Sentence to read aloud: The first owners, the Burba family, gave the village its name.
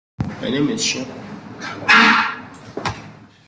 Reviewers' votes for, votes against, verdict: 0, 2, rejected